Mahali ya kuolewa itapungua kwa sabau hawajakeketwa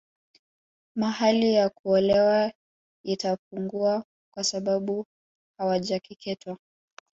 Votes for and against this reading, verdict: 2, 0, accepted